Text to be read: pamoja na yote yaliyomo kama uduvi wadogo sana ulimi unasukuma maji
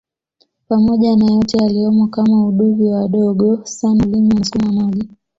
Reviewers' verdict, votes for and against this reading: accepted, 2, 0